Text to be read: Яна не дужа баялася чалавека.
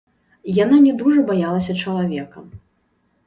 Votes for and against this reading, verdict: 1, 2, rejected